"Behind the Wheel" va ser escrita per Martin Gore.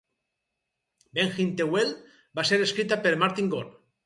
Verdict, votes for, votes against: accepted, 4, 2